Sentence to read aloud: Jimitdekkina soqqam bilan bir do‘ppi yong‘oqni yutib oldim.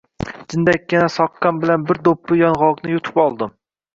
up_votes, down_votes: 2, 0